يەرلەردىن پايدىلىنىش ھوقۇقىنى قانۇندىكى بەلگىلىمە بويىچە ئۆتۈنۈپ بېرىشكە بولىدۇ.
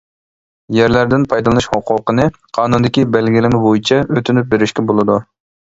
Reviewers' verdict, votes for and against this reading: accepted, 2, 0